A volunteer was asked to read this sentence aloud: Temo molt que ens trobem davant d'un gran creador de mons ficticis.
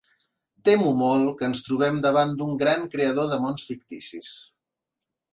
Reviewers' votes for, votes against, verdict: 2, 0, accepted